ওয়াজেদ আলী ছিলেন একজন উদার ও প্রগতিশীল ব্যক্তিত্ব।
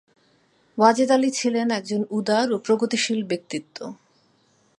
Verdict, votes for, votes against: accepted, 2, 0